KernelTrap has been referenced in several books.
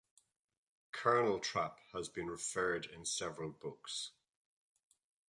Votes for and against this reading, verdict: 0, 2, rejected